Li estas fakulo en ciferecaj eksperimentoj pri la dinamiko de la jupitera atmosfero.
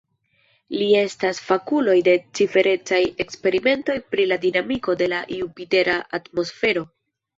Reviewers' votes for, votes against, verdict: 2, 0, accepted